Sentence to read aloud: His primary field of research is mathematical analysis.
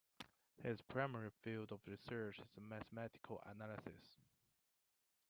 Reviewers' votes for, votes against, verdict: 2, 1, accepted